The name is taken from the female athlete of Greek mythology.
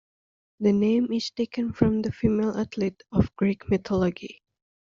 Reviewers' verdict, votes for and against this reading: accepted, 3, 1